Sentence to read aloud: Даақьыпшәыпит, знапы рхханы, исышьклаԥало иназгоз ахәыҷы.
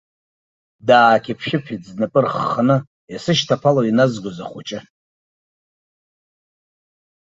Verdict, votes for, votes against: accepted, 2, 0